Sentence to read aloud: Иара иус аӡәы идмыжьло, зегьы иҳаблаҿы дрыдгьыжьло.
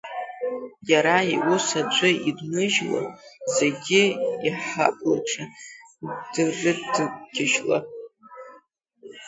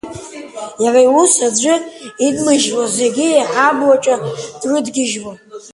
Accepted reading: second